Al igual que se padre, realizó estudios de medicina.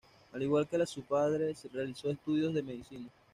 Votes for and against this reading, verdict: 1, 2, rejected